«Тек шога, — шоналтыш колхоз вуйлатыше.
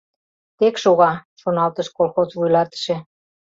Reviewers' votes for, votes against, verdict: 2, 0, accepted